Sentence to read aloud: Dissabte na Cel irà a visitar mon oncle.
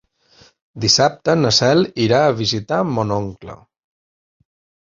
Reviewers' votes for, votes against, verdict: 2, 0, accepted